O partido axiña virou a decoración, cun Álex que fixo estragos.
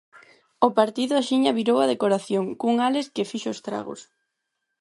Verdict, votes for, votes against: accepted, 4, 0